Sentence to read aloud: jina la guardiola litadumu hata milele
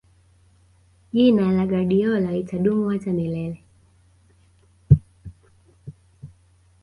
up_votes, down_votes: 2, 0